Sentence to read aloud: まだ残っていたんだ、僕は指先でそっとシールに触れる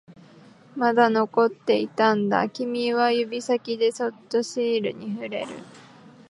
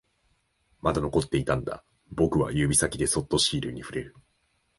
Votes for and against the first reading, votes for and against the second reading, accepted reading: 2, 6, 3, 0, second